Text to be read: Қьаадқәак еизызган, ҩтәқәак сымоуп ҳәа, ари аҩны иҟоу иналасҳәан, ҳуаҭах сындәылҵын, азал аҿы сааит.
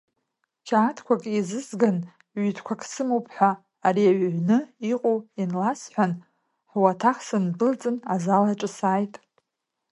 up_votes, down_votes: 0, 2